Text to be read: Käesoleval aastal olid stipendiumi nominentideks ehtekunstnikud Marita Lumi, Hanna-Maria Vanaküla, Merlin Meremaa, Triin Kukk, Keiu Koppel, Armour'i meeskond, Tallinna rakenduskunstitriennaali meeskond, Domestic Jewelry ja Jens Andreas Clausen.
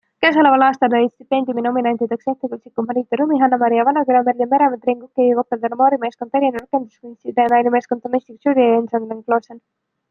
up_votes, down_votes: 0, 2